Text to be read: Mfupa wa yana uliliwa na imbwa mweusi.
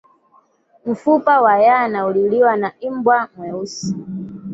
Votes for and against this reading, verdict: 1, 2, rejected